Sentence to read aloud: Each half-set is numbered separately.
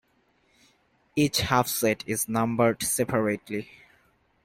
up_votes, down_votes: 2, 0